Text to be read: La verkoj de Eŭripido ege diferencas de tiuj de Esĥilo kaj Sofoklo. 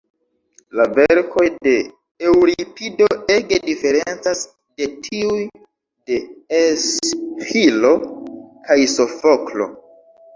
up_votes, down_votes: 1, 2